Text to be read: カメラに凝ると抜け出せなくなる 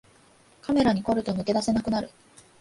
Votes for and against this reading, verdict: 2, 0, accepted